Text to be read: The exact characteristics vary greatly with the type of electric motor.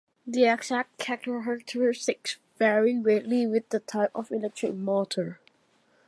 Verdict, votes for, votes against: accepted, 2, 1